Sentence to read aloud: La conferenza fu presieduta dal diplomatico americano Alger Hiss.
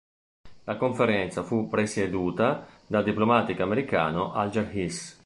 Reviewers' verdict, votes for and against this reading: rejected, 1, 2